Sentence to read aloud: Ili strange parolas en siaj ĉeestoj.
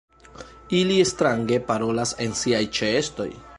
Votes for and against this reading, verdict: 2, 1, accepted